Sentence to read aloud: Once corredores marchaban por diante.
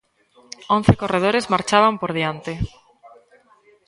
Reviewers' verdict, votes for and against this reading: rejected, 1, 2